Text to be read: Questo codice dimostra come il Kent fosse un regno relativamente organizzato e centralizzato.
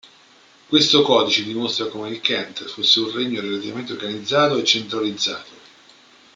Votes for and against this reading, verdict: 0, 2, rejected